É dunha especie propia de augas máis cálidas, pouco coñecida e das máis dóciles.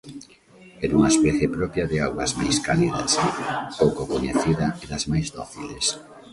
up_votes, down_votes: 2, 1